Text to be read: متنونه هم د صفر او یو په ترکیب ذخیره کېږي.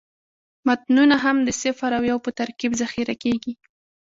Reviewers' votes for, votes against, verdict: 1, 2, rejected